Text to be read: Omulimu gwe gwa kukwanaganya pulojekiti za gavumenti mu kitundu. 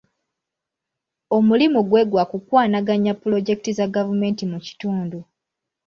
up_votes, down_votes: 0, 2